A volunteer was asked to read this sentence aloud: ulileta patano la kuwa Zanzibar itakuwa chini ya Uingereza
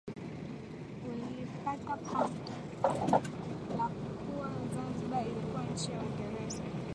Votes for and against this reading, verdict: 0, 4, rejected